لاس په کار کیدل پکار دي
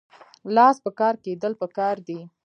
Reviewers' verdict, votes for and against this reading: accepted, 2, 0